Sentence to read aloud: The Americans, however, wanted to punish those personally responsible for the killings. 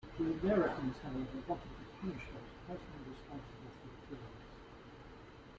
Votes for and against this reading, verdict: 0, 2, rejected